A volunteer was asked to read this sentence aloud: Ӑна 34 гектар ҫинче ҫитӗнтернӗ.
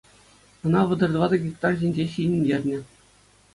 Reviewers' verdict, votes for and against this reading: rejected, 0, 2